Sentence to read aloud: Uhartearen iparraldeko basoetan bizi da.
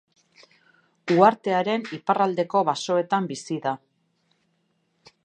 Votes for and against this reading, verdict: 2, 0, accepted